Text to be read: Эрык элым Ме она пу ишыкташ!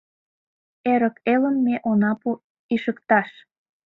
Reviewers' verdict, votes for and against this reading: accepted, 2, 0